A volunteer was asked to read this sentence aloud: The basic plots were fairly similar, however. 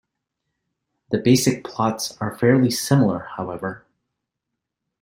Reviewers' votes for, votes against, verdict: 0, 2, rejected